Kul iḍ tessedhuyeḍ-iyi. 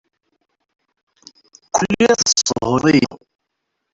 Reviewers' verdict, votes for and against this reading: rejected, 0, 2